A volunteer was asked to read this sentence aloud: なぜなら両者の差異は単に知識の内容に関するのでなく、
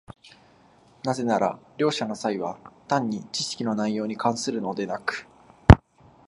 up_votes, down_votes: 2, 0